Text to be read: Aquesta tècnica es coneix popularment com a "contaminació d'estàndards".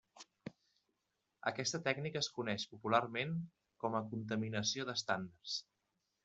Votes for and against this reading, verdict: 1, 2, rejected